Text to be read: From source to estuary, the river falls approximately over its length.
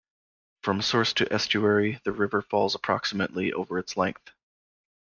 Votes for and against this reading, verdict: 1, 2, rejected